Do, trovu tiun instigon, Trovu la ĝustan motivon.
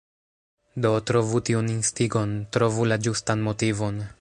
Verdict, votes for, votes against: accepted, 2, 1